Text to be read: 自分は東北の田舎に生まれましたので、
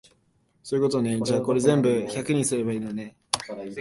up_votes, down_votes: 0, 2